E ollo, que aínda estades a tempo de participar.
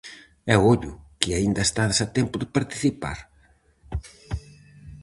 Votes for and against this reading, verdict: 4, 0, accepted